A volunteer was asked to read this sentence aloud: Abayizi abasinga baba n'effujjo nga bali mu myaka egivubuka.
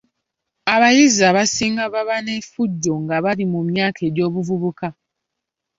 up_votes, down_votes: 1, 2